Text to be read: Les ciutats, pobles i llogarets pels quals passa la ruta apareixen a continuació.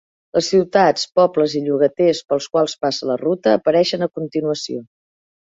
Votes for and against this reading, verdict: 0, 2, rejected